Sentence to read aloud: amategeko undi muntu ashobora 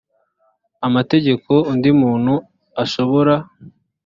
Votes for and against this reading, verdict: 2, 0, accepted